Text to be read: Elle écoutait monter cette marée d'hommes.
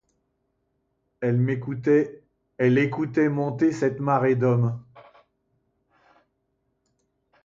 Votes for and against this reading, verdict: 1, 2, rejected